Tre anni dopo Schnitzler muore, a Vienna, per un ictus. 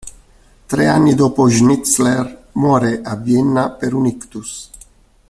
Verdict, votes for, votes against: accepted, 2, 0